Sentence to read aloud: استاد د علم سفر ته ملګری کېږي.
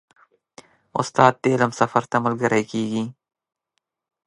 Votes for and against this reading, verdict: 1, 2, rejected